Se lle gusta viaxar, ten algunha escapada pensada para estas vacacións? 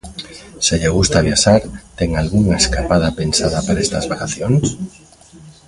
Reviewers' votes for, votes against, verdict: 1, 2, rejected